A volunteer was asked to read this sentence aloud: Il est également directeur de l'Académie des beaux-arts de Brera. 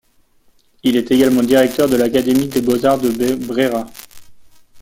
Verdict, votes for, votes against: rejected, 1, 2